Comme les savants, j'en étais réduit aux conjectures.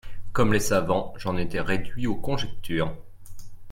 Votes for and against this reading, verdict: 2, 0, accepted